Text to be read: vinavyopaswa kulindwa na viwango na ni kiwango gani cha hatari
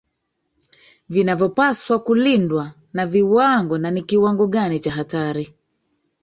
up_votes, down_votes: 0, 2